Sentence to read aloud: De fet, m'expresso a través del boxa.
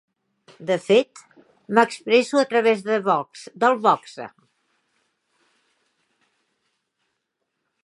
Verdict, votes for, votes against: rejected, 1, 2